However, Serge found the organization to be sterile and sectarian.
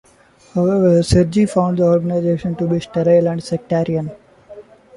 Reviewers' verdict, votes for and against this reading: accepted, 2, 1